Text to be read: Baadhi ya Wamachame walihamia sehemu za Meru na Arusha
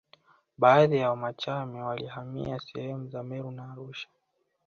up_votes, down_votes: 2, 1